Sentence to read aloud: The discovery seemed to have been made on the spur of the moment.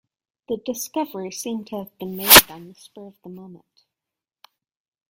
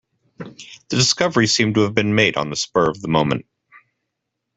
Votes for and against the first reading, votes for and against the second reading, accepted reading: 1, 2, 3, 0, second